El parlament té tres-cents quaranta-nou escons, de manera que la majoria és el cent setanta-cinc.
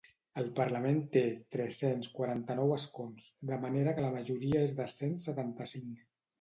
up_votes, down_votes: 2, 0